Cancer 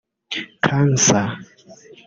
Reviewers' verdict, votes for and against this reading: rejected, 0, 3